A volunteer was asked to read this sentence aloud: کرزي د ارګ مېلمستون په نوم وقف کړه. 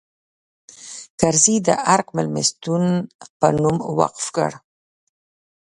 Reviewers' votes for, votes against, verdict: 2, 0, accepted